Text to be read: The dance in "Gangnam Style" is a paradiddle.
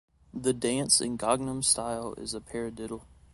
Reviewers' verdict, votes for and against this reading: accepted, 2, 1